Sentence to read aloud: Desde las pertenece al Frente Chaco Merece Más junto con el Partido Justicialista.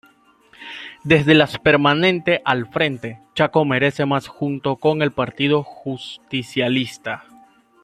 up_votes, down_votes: 1, 2